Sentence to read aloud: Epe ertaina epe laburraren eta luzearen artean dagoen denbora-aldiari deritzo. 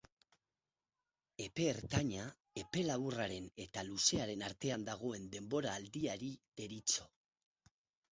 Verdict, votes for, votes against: rejected, 2, 2